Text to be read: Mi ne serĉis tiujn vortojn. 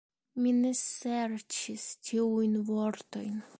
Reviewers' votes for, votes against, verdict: 2, 0, accepted